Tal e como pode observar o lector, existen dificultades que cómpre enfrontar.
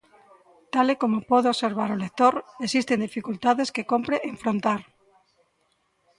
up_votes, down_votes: 2, 1